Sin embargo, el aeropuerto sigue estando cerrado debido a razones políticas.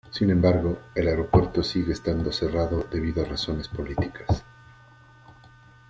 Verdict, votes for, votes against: accepted, 2, 0